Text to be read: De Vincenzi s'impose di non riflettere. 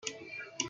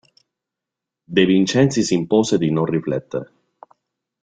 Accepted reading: second